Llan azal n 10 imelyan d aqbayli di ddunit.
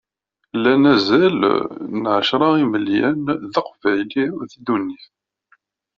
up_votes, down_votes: 0, 2